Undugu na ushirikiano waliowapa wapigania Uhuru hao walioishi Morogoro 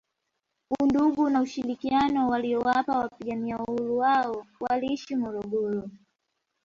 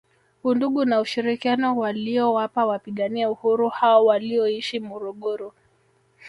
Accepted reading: first